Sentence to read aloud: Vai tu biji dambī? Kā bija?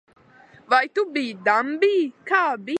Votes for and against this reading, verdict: 0, 2, rejected